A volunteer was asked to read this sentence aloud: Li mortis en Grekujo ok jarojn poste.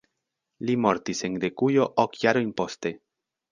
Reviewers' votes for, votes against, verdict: 2, 1, accepted